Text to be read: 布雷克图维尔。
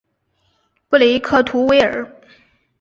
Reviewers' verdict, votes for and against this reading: accepted, 2, 0